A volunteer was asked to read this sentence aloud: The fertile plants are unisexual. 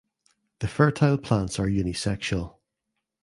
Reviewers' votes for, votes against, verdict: 2, 0, accepted